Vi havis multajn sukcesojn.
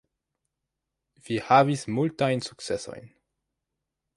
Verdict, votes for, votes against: accepted, 2, 0